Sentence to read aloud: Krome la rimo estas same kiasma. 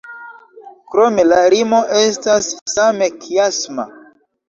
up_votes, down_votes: 2, 1